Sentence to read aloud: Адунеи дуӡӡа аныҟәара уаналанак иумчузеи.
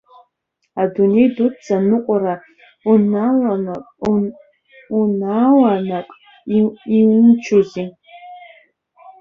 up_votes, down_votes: 0, 2